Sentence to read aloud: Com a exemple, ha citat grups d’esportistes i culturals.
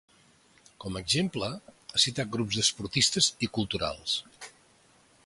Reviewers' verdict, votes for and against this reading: accepted, 4, 0